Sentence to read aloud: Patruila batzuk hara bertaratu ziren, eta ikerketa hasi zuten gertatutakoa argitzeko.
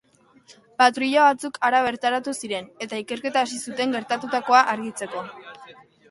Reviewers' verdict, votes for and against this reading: accepted, 2, 0